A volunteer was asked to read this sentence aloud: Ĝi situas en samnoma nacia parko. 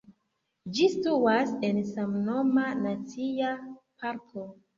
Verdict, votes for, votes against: accepted, 2, 0